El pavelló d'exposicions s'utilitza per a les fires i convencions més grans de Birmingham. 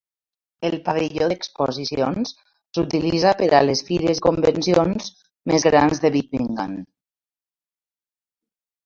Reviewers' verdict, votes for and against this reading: rejected, 0, 2